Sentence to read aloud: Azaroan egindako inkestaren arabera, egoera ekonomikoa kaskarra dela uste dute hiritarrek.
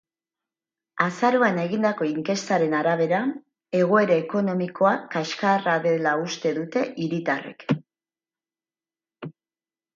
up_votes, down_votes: 4, 0